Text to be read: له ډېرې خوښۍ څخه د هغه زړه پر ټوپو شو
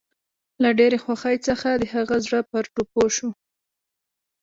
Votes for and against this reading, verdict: 2, 0, accepted